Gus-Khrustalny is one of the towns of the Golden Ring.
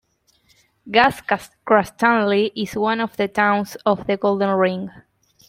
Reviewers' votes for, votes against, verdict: 0, 2, rejected